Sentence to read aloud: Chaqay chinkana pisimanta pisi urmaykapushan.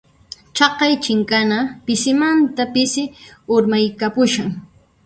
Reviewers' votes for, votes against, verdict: 2, 0, accepted